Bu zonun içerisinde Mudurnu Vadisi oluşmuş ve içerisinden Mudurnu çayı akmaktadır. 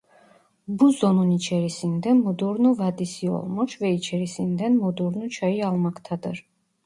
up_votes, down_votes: 0, 2